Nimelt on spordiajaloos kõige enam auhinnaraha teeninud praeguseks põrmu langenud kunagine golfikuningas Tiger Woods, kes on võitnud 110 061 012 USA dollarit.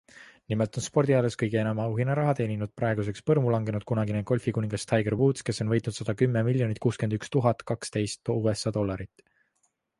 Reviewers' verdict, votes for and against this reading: rejected, 0, 2